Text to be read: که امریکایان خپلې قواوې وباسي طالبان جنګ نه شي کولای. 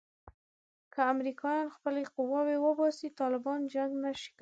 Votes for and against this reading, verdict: 1, 2, rejected